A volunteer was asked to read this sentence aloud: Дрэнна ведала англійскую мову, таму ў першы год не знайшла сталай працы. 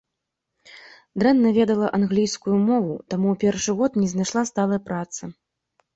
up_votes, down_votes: 2, 0